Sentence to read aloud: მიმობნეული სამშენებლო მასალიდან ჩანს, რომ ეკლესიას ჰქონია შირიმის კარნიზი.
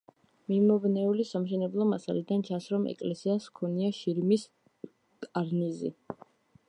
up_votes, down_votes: 2, 0